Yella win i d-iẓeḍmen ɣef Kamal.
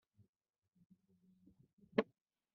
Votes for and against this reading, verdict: 1, 2, rejected